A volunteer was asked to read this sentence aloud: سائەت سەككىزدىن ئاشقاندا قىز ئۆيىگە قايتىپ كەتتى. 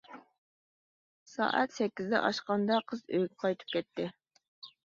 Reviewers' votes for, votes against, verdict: 2, 0, accepted